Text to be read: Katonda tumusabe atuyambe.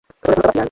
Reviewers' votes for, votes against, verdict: 0, 2, rejected